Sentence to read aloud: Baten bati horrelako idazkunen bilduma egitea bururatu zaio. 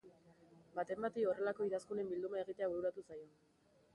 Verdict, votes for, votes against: rejected, 1, 2